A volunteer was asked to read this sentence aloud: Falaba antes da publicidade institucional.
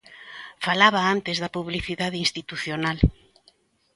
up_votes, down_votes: 2, 0